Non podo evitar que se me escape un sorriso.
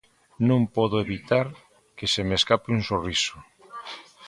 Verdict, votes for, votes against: accepted, 2, 0